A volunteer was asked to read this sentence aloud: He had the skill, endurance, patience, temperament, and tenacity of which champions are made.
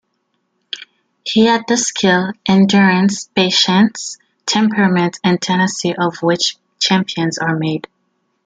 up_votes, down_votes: 1, 2